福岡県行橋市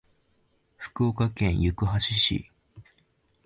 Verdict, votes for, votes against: accepted, 2, 0